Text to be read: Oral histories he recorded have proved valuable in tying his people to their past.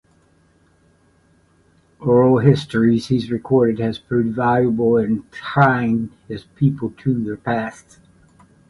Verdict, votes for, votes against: rejected, 0, 2